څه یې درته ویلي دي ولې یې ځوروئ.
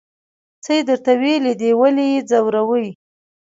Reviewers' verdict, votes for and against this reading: accepted, 2, 0